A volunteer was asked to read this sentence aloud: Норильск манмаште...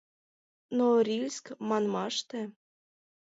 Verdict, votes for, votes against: accepted, 2, 0